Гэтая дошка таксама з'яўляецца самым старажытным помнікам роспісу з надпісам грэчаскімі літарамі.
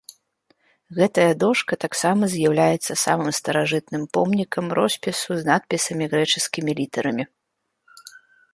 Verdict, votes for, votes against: rejected, 1, 2